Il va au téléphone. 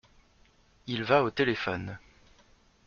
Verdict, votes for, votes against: accepted, 2, 0